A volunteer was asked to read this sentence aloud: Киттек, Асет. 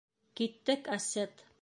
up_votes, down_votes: 3, 0